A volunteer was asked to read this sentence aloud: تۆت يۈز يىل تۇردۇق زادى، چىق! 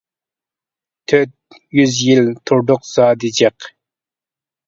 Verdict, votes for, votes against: accepted, 2, 1